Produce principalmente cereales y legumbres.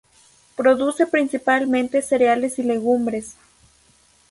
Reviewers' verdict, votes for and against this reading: accepted, 2, 0